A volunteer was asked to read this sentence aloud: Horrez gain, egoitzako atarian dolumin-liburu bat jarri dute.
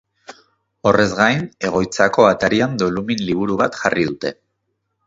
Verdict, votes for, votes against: accepted, 2, 0